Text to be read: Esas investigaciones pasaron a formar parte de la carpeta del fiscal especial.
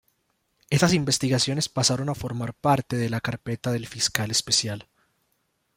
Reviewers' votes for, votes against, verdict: 0, 2, rejected